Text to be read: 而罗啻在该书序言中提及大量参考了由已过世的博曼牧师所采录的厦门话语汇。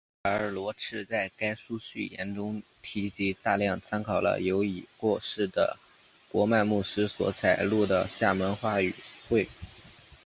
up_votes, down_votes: 1, 2